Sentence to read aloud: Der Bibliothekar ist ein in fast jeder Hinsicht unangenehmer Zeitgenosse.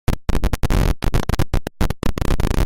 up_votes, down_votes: 0, 2